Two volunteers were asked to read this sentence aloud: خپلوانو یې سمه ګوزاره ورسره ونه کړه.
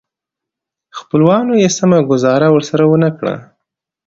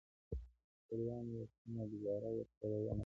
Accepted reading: first